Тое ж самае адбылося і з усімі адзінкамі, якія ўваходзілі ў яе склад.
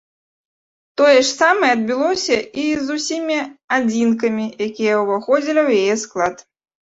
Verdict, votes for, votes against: rejected, 0, 2